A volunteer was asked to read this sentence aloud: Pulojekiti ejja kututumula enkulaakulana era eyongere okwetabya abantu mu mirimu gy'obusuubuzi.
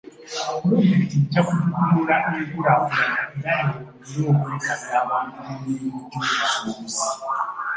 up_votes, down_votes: 0, 2